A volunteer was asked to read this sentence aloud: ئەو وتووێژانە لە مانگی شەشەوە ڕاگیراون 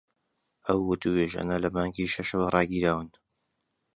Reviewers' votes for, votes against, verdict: 2, 0, accepted